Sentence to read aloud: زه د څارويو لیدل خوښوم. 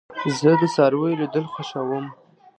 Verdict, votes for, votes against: rejected, 0, 2